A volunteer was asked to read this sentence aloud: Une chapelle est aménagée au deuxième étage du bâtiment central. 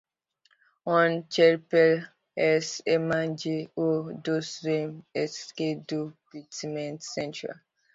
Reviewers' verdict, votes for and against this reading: rejected, 0, 2